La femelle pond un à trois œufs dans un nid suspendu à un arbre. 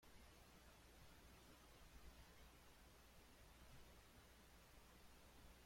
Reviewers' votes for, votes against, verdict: 0, 2, rejected